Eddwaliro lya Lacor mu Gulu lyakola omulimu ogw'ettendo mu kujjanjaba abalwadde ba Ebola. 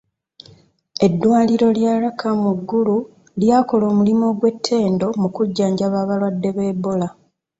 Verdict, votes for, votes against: accepted, 2, 1